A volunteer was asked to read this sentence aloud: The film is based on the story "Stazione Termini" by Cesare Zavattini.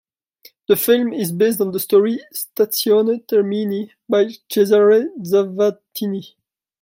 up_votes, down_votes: 2, 1